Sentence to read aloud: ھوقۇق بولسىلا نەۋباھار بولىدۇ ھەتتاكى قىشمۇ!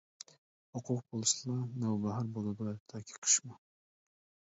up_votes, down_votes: 0, 2